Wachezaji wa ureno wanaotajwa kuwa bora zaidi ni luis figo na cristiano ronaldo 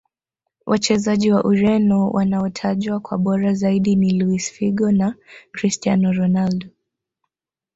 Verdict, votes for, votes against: accepted, 2, 1